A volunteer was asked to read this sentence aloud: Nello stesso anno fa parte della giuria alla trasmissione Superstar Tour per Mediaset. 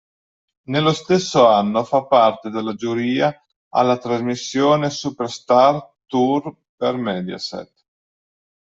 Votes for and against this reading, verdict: 2, 1, accepted